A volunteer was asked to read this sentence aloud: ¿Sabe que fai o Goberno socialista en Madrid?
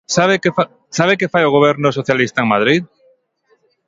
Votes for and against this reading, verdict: 1, 2, rejected